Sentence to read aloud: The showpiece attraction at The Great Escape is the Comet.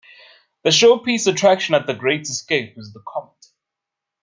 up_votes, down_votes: 2, 0